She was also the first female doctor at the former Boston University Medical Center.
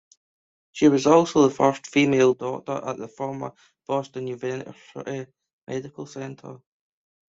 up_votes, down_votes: 0, 2